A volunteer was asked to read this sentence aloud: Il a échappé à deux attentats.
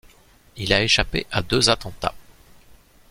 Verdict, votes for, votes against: accepted, 2, 0